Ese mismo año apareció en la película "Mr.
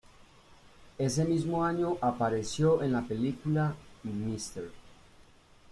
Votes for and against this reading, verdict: 2, 1, accepted